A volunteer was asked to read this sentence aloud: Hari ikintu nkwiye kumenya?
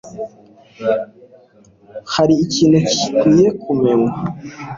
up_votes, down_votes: 2, 0